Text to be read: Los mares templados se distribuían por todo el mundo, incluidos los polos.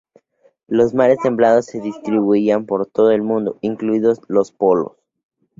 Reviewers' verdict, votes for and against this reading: accepted, 2, 0